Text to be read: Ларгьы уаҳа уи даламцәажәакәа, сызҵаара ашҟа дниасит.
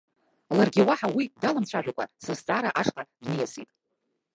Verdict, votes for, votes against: rejected, 0, 2